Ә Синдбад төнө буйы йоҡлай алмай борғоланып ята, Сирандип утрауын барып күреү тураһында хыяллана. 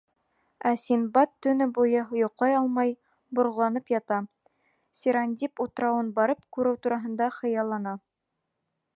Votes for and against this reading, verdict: 2, 0, accepted